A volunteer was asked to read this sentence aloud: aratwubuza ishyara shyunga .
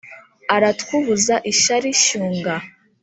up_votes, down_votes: 1, 2